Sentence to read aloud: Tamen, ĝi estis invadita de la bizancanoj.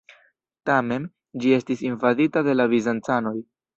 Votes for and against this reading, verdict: 2, 0, accepted